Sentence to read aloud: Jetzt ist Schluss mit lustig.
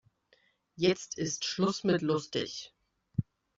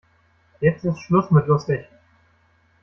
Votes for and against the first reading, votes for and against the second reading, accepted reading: 2, 0, 0, 2, first